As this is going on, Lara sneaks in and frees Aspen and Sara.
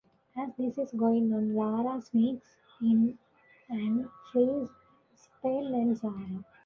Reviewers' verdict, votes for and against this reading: rejected, 1, 2